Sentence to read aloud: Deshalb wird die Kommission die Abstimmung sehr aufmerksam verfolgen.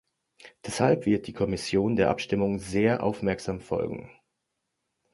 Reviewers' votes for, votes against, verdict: 0, 3, rejected